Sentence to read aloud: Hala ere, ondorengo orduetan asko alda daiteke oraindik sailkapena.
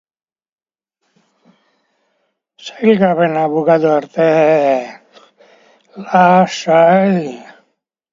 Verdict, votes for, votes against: rejected, 0, 3